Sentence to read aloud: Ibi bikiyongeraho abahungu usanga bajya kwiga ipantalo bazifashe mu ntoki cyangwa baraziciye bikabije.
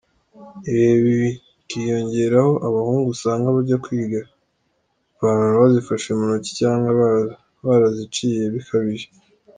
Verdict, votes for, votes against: rejected, 2, 3